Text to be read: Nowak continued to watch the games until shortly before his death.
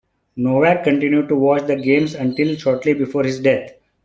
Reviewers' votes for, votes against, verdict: 2, 0, accepted